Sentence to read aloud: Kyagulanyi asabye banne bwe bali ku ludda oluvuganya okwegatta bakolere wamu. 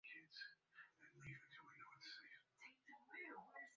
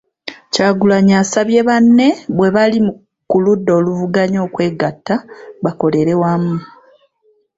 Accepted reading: second